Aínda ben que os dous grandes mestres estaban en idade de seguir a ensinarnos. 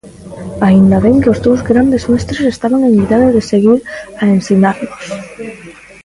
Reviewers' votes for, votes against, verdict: 0, 2, rejected